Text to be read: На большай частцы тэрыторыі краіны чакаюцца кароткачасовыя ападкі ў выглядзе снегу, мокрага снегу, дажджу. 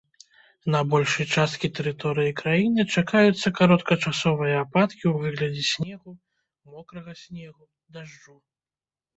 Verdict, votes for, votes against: rejected, 1, 2